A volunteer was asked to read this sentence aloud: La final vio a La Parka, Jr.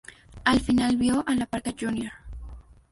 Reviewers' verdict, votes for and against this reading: rejected, 0, 2